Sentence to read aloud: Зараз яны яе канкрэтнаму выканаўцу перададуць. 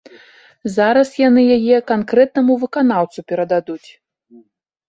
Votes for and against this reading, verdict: 2, 0, accepted